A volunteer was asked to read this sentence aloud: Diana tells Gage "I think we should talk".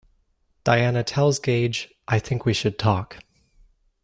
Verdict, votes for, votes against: accepted, 2, 0